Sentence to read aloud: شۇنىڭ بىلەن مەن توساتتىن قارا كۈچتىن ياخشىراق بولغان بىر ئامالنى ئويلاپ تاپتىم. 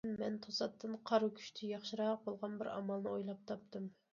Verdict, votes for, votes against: rejected, 0, 2